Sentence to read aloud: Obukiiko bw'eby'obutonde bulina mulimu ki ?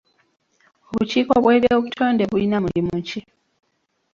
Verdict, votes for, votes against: rejected, 1, 2